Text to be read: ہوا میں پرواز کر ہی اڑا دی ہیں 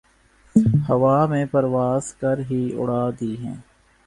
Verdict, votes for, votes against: accepted, 2, 0